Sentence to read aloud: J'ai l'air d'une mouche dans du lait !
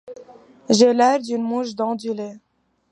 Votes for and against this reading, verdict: 2, 0, accepted